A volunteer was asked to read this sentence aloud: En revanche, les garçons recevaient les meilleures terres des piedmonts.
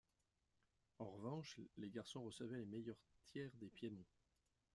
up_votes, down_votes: 1, 2